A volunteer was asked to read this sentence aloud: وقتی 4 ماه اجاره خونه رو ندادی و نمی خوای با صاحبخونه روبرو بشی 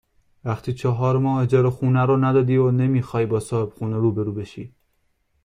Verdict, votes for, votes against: rejected, 0, 2